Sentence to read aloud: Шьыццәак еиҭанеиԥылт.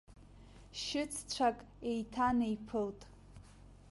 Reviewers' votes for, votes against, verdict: 2, 0, accepted